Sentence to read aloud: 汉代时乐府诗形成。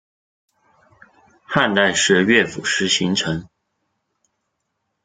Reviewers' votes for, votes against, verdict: 2, 1, accepted